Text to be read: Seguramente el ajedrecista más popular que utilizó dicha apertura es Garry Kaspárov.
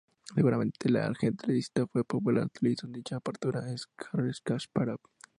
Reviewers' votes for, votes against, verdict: 2, 0, accepted